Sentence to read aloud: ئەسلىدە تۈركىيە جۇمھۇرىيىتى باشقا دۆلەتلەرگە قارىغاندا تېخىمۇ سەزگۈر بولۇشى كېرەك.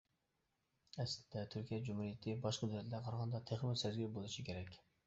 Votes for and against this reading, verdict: 1, 2, rejected